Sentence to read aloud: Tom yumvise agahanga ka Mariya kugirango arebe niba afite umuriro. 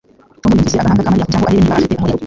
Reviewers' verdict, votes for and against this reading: rejected, 1, 2